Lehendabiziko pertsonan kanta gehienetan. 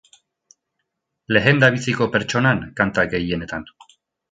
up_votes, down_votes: 2, 2